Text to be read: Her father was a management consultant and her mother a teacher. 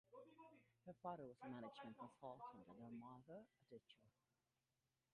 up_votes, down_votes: 0, 2